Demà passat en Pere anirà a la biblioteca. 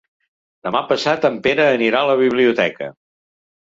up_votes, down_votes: 3, 0